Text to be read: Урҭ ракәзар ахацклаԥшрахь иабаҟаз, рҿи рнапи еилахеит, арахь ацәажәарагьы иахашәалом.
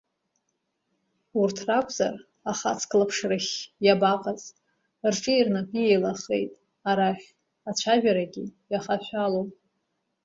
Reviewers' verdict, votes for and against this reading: rejected, 1, 2